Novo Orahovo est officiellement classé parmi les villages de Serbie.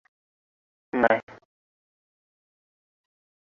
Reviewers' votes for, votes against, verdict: 0, 2, rejected